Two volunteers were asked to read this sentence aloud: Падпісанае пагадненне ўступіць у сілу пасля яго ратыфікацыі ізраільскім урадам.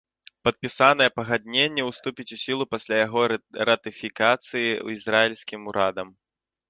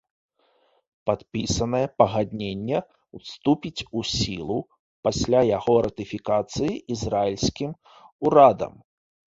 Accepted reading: second